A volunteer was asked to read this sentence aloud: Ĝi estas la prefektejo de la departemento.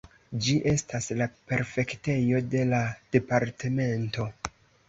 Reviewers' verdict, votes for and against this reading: accepted, 3, 0